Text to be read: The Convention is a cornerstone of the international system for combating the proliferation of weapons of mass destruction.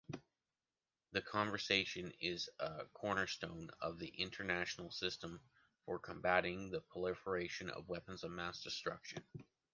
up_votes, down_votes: 0, 2